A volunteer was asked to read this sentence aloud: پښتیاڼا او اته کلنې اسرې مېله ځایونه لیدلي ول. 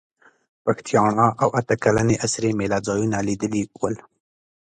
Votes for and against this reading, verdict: 2, 0, accepted